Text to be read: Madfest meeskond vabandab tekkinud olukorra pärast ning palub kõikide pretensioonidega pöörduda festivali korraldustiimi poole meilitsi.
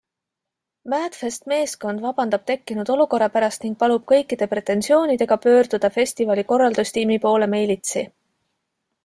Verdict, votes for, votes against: accepted, 2, 0